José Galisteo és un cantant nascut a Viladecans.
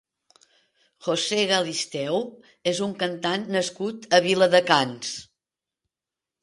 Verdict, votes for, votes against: rejected, 1, 2